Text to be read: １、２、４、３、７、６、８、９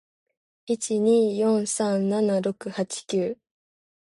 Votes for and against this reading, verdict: 0, 2, rejected